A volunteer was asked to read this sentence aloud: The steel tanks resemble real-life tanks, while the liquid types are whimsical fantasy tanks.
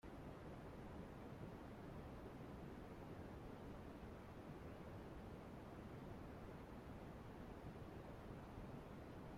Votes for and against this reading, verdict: 0, 2, rejected